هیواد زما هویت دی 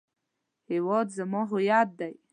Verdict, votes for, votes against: accepted, 2, 0